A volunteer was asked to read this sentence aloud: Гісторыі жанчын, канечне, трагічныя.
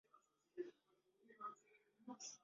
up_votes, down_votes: 0, 2